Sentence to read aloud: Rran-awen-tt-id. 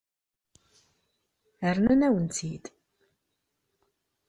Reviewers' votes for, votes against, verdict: 0, 2, rejected